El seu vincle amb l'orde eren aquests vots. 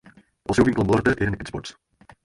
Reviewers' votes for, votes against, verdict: 0, 4, rejected